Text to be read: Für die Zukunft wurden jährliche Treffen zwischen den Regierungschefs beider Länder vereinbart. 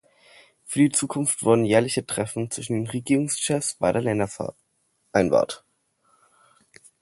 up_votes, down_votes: 2, 0